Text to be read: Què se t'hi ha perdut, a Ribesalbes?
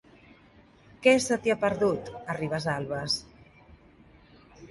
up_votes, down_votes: 2, 0